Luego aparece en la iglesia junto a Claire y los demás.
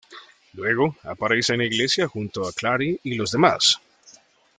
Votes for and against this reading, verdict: 1, 2, rejected